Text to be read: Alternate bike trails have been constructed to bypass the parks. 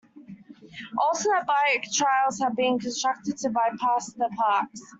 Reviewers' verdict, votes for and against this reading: rejected, 1, 2